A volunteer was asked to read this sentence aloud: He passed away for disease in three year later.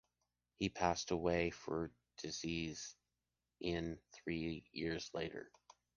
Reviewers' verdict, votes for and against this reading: rejected, 1, 2